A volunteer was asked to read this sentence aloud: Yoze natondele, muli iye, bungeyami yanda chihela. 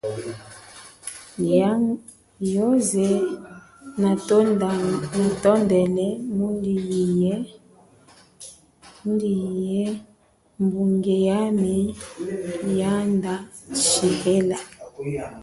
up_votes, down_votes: 0, 2